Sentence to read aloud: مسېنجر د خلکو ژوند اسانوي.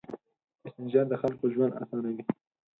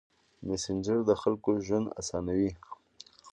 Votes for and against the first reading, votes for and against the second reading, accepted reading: 2, 4, 2, 0, second